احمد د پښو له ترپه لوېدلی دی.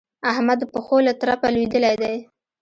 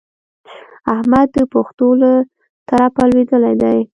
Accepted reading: first